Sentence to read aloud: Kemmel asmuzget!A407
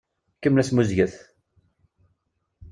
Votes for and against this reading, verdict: 0, 2, rejected